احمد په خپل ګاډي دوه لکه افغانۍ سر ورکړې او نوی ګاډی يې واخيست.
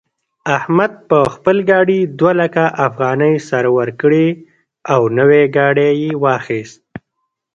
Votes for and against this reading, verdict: 1, 2, rejected